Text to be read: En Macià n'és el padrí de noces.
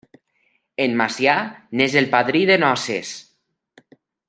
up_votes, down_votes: 1, 2